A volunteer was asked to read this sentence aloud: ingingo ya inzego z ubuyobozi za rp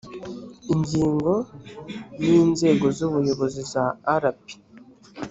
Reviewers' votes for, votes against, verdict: 1, 2, rejected